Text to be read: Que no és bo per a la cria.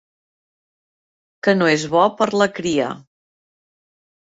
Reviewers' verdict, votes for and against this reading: rejected, 0, 2